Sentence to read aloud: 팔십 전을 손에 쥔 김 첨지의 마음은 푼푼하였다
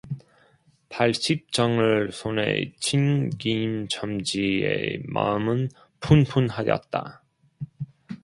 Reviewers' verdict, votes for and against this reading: rejected, 0, 2